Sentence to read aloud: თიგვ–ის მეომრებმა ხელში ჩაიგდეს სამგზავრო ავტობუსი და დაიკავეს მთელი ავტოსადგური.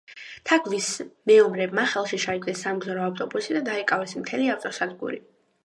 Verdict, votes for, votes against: rejected, 1, 2